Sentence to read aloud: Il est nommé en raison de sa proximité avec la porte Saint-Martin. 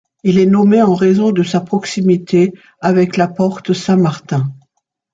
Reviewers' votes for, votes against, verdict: 2, 0, accepted